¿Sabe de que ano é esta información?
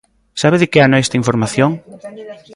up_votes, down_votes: 2, 0